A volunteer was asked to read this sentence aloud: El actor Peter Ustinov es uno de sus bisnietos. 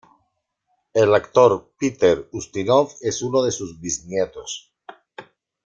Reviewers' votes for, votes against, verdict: 2, 0, accepted